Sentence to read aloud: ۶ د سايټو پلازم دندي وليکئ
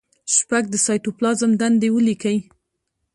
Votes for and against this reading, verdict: 0, 2, rejected